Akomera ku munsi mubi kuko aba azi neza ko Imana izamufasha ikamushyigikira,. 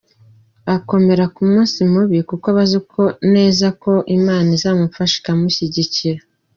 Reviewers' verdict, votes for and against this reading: accepted, 2, 0